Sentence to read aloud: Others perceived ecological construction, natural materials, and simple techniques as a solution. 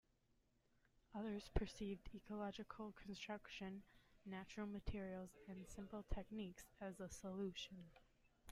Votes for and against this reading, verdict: 1, 2, rejected